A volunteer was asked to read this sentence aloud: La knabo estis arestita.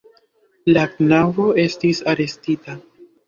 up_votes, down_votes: 2, 0